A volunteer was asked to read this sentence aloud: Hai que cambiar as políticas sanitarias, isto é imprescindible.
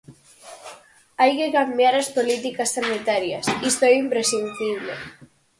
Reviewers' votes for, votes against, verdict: 2, 2, rejected